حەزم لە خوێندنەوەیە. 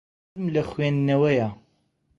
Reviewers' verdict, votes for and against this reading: rejected, 0, 2